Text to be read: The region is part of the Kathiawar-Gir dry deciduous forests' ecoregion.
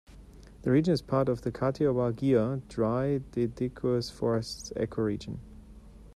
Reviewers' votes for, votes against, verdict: 0, 2, rejected